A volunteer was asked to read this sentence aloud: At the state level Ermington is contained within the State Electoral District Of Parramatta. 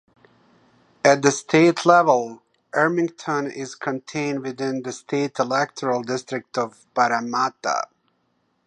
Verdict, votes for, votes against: accepted, 2, 0